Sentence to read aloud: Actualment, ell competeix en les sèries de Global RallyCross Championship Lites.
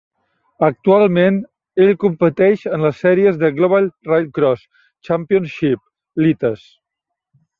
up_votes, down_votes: 1, 2